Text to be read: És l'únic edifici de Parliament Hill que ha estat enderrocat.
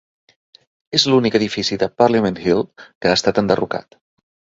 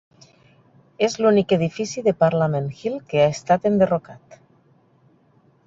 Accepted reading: first